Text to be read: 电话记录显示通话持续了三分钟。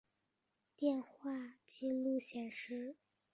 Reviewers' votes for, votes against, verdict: 0, 2, rejected